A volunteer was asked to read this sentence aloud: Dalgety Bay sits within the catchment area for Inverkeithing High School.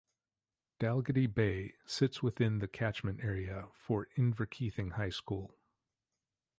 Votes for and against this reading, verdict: 2, 0, accepted